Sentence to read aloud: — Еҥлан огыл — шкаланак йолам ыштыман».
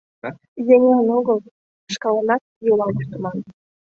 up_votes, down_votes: 1, 2